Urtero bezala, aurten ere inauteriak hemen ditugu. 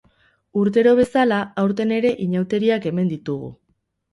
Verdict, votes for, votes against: accepted, 2, 0